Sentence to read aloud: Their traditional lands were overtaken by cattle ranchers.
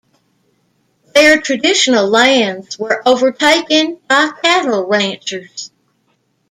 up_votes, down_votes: 1, 2